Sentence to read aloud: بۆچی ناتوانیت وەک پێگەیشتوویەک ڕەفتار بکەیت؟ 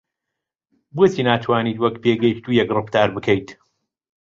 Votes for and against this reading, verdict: 2, 0, accepted